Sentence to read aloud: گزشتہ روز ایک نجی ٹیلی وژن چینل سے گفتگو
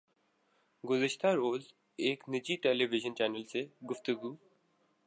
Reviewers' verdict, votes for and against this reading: accepted, 2, 1